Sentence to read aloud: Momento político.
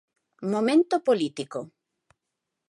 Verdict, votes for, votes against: accepted, 2, 0